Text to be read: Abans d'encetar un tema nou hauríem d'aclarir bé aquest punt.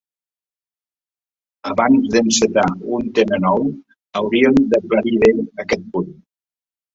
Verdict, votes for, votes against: accepted, 3, 0